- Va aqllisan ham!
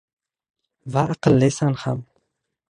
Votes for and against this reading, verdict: 1, 2, rejected